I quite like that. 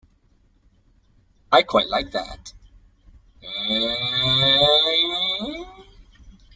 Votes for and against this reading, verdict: 0, 2, rejected